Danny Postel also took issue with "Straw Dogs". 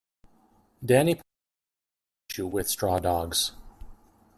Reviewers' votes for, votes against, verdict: 0, 2, rejected